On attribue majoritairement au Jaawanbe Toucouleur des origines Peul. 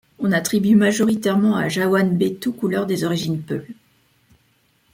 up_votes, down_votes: 1, 2